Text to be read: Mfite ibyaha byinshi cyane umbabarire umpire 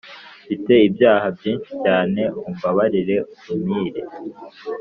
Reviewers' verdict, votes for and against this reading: accepted, 2, 1